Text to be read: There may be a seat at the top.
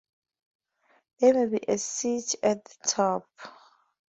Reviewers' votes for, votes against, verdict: 0, 2, rejected